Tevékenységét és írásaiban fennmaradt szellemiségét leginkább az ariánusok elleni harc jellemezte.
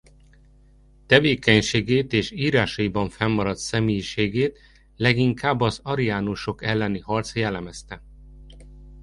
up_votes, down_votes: 1, 2